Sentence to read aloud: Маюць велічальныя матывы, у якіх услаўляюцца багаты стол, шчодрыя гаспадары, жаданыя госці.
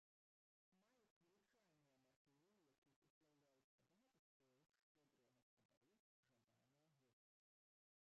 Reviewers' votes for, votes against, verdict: 0, 2, rejected